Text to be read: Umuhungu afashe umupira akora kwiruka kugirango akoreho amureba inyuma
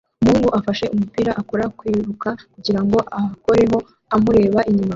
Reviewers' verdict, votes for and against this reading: accepted, 2, 1